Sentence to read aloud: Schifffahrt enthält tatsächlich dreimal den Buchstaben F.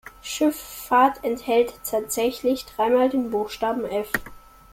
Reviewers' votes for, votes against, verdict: 2, 0, accepted